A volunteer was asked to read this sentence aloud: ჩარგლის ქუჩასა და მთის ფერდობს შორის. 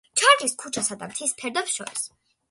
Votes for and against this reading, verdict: 2, 0, accepted